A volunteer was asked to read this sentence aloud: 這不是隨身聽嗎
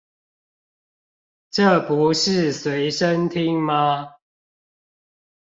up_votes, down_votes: 2, 0